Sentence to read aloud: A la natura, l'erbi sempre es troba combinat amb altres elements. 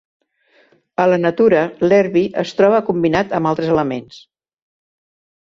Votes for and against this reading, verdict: 0, 2, rejected